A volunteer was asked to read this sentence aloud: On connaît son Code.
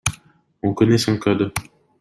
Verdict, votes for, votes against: rejected, 1, 2